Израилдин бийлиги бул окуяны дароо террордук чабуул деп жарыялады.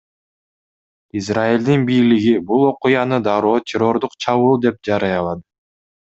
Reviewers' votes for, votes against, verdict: 2, 0, accepted